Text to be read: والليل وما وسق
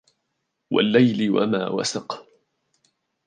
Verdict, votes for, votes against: accepted, 2, 0